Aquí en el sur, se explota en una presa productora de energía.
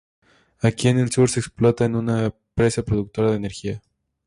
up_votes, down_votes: 2, 2